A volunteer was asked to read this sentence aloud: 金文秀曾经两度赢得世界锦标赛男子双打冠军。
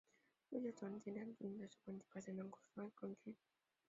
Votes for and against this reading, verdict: 1, 2, rejected